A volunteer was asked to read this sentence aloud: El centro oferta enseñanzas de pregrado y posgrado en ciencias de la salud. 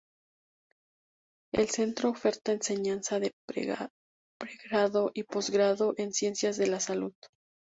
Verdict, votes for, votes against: rejected, 0, 2